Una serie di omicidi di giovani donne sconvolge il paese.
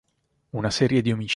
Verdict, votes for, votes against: rejected, 0, 4